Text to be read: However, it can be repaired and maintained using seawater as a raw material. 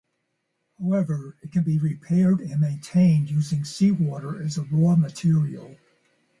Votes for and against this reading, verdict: 4, 0, accepted